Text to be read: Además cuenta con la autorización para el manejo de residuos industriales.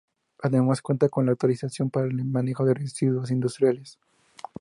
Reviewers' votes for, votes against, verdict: 2, 0, accepted